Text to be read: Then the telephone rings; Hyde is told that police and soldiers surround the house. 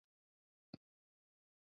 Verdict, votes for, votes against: rejected, 0, 2